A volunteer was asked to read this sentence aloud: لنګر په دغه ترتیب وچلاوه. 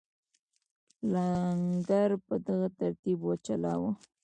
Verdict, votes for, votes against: rejected, 1, 2